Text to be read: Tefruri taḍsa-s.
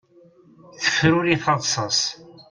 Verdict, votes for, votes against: accepted, 2, 0